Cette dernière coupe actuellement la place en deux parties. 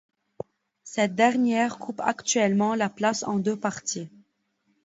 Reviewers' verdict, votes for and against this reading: accepted, 2, 0